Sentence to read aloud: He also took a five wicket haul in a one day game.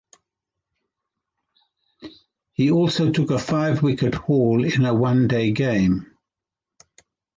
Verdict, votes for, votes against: accepted, 2, 0